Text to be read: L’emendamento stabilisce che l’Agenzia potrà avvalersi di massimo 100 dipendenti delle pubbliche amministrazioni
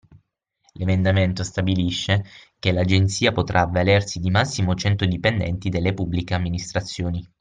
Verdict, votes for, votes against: rejected, 0, 2